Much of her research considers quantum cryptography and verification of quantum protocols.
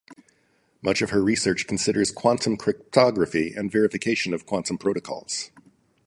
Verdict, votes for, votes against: rejected, 2, 2